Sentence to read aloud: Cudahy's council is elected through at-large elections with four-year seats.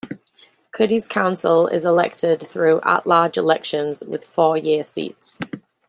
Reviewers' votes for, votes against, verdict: 2, 0, accepted